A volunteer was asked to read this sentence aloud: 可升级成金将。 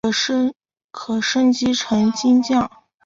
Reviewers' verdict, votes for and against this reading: rejected, 1, 3